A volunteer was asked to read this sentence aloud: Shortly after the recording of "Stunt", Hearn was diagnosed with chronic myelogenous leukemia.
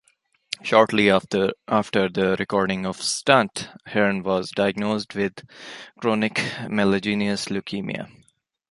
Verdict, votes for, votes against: rejected, 1, 2